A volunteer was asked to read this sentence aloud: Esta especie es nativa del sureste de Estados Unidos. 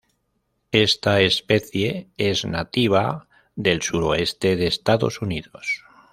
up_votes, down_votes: 1, 2